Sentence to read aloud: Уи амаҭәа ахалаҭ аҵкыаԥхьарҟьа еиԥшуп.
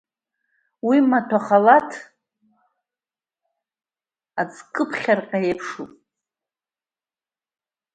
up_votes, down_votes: 0, 2